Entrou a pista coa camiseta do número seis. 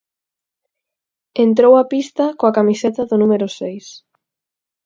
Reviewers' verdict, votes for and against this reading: accepted, 4, 0